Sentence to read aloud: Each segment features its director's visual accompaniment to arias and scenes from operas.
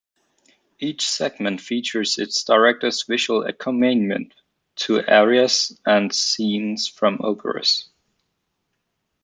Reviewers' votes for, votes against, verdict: 0, 2, rejected